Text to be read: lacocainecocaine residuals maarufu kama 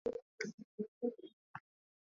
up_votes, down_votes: 1, 14